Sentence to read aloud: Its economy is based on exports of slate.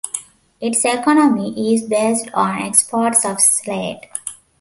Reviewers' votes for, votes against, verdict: 2, 0, accepted